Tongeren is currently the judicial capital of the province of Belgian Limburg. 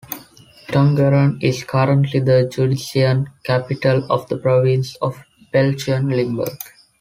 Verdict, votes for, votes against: accepted, 2, 0